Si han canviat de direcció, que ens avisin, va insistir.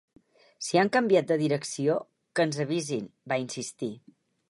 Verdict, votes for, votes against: accepted, 4, 0